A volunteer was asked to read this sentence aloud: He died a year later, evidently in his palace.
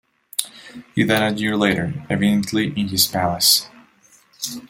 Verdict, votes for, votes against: accepted, 2, 0